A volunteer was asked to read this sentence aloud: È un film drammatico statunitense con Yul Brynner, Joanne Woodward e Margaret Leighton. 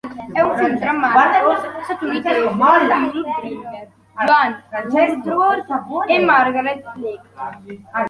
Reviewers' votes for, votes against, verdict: 0, 2, rejected